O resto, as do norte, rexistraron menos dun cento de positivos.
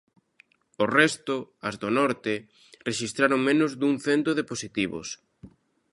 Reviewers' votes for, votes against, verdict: 2, 0, accepted